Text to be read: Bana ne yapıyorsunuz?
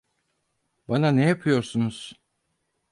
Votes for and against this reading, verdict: 4, 0, accepted